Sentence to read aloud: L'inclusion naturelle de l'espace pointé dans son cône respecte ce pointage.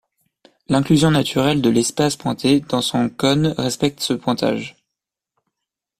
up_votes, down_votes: 2, 0